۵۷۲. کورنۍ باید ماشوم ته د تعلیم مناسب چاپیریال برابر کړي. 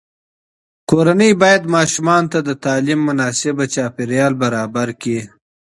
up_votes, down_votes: 0, 2